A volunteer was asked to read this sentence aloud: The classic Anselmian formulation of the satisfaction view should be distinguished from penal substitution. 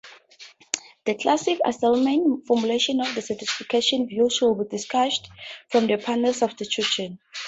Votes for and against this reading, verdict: 0, 2, rejected